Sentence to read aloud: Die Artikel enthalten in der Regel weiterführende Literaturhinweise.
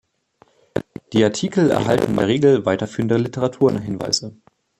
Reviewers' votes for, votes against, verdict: 1, 2, rejected